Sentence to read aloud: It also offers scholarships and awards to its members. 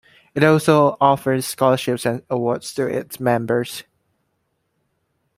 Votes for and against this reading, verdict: 2, 0, accepted